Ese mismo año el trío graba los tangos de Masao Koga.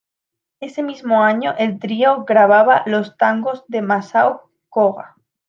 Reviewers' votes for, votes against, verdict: 0, 2, rejected